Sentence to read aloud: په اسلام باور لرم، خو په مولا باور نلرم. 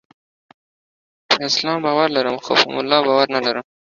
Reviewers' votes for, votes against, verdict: 2, 0, accepted